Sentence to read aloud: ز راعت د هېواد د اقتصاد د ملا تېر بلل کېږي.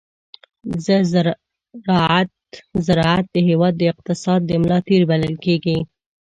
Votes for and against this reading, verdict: 1, 2, rejected